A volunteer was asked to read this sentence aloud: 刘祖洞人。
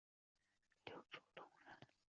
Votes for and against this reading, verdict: 0, 5, rejected